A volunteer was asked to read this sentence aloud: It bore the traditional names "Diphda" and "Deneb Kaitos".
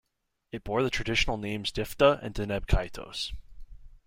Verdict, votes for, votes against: accepted, 2, 0